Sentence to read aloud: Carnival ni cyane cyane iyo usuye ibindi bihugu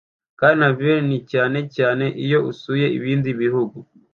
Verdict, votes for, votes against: accepted, 2, 0